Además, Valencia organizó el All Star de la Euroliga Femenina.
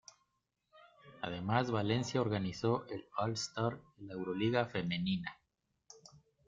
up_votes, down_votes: 0, 2